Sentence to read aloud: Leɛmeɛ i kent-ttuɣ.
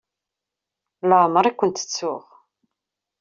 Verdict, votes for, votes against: accepted, 2, 0